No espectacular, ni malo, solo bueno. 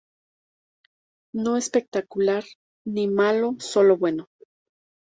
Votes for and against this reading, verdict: 2, 0, accepted